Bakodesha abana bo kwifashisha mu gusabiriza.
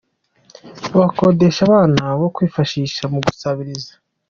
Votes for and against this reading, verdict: 2, 0, accepted